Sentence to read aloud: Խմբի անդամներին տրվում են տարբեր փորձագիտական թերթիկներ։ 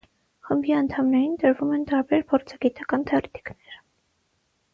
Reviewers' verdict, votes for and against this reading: accepted, 3, 0